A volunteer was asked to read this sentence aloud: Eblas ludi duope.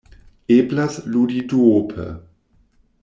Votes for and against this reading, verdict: 2, 0, accepted